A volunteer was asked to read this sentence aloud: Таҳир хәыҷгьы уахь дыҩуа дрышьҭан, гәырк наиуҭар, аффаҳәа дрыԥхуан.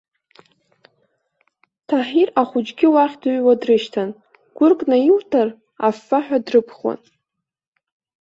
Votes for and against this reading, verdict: 1, 2, rejected